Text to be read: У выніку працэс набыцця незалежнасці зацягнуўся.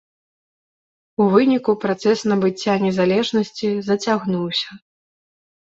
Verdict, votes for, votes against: accepted, 2, 0